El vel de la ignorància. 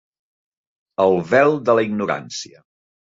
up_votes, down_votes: 4, 0